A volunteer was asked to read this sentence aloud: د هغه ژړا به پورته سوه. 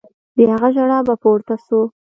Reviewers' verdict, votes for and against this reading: accepted, 2, 0